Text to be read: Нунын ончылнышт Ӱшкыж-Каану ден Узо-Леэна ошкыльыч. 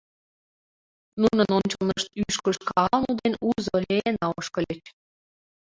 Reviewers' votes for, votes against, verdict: 1, 2, rejected